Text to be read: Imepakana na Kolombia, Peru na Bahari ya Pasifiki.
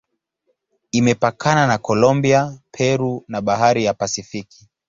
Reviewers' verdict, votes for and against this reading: accepted, 2, 0